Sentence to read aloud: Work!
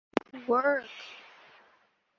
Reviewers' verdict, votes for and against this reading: accepted, 2, 0